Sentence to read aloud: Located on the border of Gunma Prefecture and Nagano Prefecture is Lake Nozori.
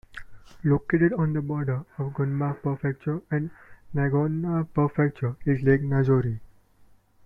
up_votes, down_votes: 1, 2